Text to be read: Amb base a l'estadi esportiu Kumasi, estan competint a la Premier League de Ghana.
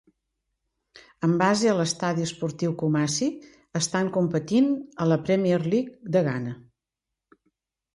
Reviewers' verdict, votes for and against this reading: accepted, 3, 0